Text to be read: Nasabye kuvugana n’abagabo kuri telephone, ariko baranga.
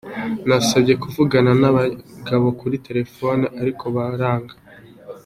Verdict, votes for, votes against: accepted, 2, 0